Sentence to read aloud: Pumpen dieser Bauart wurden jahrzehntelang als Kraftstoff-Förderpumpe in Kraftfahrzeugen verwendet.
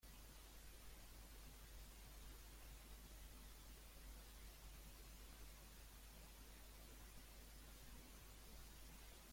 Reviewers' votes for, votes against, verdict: 0, 2, rejected